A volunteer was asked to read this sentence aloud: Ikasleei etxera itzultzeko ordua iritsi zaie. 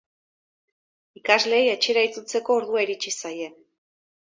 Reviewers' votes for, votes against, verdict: 2, 0, accepted